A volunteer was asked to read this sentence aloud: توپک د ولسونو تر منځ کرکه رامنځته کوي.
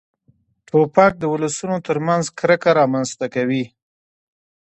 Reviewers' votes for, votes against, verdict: 2, 1, accepted